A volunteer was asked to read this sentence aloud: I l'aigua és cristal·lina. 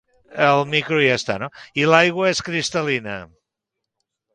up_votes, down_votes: 0, 2